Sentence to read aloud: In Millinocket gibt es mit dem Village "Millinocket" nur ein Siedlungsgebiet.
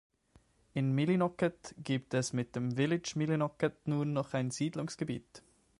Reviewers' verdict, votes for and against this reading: rejected, 0, 2